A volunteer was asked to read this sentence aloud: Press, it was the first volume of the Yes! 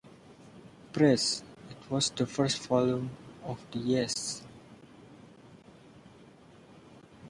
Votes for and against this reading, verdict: 2, 0, accepted